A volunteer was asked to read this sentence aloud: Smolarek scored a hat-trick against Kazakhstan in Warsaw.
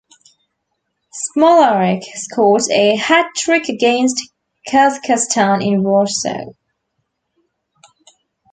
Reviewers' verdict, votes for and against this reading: rejected, 1, 3